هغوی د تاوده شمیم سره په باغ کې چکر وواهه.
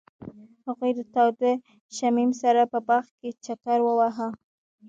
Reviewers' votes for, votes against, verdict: 2, 0, accepted